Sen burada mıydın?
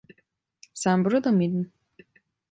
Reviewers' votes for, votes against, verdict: 2, 0, accepted